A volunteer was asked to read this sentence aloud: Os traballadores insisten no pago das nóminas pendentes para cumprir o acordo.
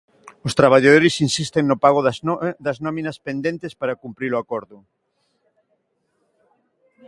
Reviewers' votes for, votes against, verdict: 0, 2, rejected